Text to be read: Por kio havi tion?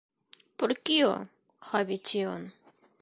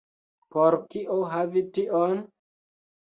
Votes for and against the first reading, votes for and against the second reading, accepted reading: 2, 0, 1, 2, first